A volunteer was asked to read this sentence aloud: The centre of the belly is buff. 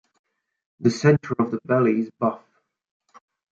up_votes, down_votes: 2, 1